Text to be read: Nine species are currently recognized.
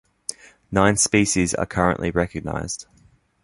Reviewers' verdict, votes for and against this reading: accepted, 2, 0